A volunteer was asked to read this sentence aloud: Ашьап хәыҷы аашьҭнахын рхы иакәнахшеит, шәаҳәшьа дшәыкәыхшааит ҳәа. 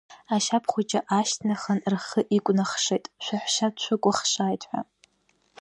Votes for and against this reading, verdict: 1, 2, rejected